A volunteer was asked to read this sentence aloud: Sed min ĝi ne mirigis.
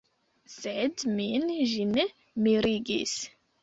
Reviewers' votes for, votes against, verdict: 2, 0, accepted